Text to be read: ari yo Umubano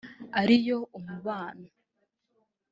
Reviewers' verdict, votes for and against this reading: rejected, 0, 2